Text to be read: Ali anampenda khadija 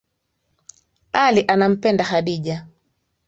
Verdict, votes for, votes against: accepted, 3, 0